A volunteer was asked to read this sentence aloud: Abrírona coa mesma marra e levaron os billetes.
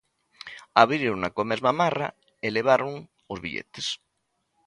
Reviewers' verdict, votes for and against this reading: accepted, 2, 0